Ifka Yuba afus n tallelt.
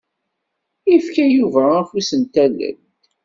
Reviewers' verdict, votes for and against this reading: accepted, 2, 0